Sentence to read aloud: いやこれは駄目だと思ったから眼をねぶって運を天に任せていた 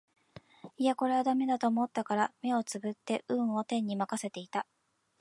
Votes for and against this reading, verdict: 1, 2, rejected